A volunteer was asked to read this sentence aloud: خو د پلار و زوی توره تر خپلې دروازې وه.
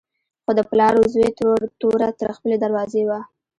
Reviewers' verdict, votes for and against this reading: rejected, 0, 2